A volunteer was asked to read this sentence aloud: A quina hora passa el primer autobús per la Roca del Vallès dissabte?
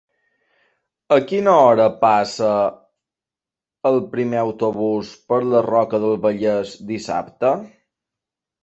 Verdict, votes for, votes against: accepted, 3, 0